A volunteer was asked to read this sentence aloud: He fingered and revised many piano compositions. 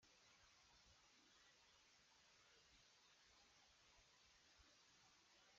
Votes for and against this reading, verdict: 0, 2, rejected